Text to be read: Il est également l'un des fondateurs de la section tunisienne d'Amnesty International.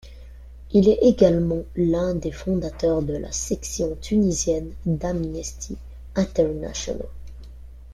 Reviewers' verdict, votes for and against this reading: rejected, 1, 2